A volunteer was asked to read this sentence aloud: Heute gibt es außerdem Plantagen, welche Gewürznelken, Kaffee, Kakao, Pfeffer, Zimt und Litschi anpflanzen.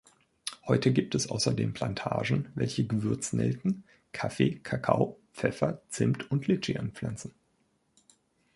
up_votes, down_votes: 2, 0